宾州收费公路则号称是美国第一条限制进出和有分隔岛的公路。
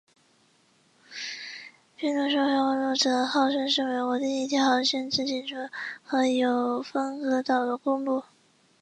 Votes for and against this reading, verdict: 0, 2, rejected